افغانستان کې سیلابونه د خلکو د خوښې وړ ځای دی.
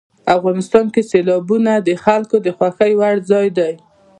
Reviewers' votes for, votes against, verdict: 1, 2, rejected